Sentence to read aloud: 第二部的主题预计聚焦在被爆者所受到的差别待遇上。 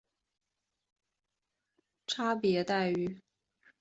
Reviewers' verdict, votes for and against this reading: rejected, 0, 2